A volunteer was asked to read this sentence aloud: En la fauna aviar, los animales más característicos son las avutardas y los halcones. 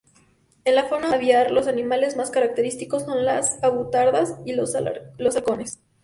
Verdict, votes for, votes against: accepted, 2, 0